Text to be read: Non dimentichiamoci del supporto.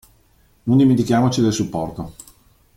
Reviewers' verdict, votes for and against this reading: rejected, 1, 2